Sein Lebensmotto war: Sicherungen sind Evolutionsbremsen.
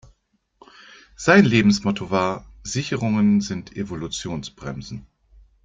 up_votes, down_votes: 2, 0